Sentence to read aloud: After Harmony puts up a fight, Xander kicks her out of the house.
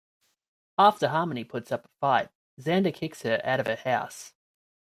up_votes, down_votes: 2, 0